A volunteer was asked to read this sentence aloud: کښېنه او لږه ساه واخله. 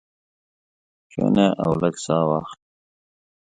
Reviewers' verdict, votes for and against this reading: rejected, 0, 2